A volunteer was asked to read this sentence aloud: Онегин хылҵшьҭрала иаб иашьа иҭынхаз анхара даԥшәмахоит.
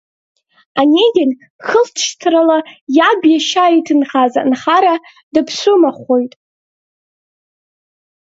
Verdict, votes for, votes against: rejected, 1, 2